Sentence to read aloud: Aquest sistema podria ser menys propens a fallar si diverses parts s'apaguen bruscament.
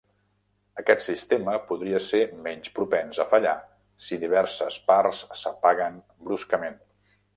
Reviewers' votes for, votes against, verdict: 2, 0, accepted